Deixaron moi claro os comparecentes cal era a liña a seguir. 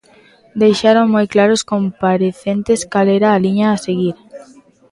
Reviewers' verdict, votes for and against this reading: rejected, 1, 2